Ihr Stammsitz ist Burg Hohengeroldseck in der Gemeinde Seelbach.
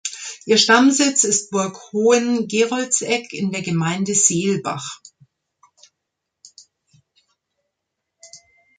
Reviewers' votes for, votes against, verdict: 2, 0, accepted